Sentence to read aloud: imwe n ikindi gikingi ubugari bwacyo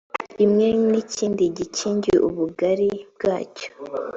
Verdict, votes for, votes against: accepted, 4, 0